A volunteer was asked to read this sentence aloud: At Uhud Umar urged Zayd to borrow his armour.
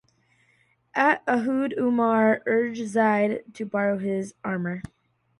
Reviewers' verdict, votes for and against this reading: accepted, 2, 0